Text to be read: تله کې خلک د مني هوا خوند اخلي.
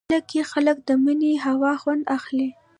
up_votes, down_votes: 2, 0